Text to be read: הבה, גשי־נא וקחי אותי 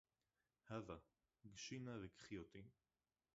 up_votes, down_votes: 0, 2